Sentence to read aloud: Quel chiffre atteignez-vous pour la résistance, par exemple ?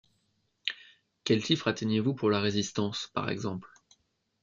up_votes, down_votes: 2, 0